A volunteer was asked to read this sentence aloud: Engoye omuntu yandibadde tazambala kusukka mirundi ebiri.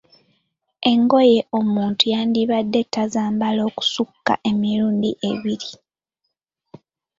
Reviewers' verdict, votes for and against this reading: rejected, 1, 3